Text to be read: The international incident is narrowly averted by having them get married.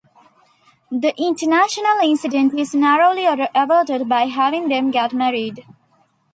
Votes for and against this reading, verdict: 1, 2, rejected